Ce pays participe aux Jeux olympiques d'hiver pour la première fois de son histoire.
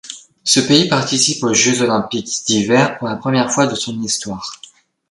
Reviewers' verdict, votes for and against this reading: accepted, 2, 0